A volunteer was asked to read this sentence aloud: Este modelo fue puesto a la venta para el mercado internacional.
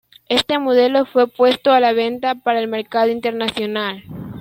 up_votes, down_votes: 2, 0